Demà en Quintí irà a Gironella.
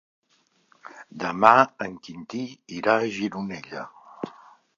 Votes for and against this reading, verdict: 4, 0, accepted